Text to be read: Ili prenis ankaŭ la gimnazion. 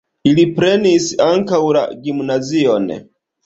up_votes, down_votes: 1, 2